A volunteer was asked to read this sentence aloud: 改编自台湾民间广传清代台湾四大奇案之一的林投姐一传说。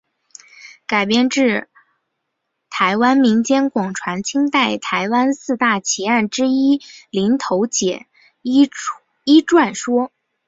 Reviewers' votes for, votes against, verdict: 2, 1, accepted